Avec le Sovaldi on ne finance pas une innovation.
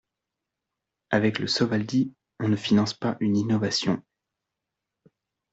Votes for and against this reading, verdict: 2, 0, accepted